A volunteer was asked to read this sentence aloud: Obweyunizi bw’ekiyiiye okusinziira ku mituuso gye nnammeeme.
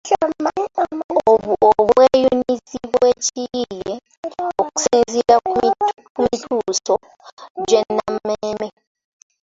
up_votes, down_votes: 0, 2